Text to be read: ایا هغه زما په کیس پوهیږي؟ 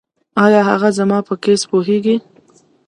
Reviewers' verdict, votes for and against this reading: rejected, 1, 2